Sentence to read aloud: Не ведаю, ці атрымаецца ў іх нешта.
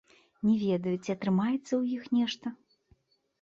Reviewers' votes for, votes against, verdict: 2, 0, accepted